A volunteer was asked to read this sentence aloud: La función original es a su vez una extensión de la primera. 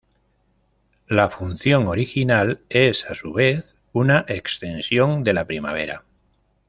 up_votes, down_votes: 0, 2